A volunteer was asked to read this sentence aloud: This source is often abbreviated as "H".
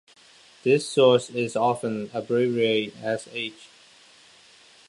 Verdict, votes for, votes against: rejected, 1, 2